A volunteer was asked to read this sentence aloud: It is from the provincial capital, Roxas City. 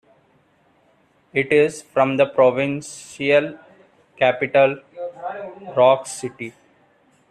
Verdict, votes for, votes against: rejected, 1, 2